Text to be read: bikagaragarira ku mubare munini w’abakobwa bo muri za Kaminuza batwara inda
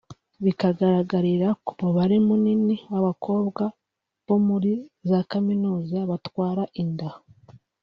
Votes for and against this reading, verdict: 2, 0, accepted